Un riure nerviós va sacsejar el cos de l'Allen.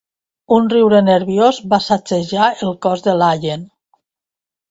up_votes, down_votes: 2, 0